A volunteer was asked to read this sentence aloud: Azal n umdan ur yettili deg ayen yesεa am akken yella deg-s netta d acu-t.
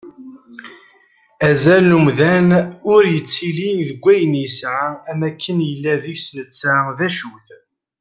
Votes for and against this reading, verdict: 2, 0, accepted